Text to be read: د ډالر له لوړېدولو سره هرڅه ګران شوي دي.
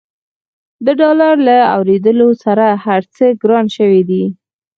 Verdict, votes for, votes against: rejected, 2, 4